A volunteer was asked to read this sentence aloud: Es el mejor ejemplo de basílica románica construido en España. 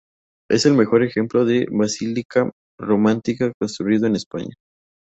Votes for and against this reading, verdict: 2, 2, rejected